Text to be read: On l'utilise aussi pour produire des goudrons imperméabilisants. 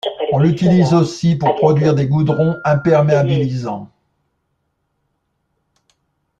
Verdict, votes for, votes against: rejected, 1, 2